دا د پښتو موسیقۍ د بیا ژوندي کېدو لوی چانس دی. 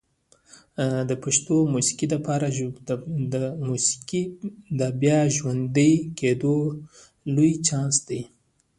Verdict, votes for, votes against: rejected, 1, 2